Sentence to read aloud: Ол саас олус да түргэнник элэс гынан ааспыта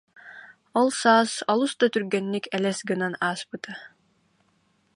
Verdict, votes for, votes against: accepted, 2, 0